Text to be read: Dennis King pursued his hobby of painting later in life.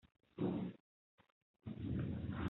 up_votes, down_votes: 0, 3